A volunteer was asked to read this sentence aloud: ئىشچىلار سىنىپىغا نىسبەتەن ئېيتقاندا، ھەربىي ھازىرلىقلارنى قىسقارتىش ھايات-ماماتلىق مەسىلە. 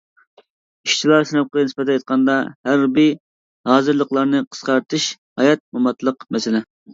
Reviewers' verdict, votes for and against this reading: rejected, 0, 2